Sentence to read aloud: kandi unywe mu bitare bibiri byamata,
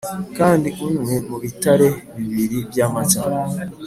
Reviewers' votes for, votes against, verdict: 2, 0, accepted